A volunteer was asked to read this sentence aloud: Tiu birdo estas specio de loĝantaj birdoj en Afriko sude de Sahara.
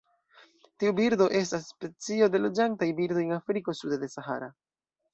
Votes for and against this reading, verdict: 2, 0, accepted